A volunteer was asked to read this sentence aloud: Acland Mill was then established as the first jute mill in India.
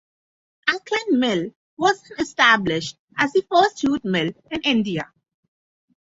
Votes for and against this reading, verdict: 0, 6, rejected